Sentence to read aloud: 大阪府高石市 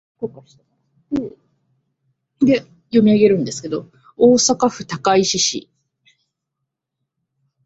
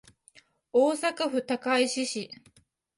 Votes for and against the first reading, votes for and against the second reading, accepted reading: 7, 18, 2, 0, second